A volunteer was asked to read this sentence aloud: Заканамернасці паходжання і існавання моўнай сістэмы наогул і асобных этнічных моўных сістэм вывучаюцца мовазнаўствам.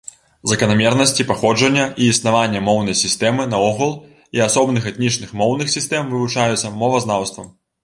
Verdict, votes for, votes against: accepted, 3, 0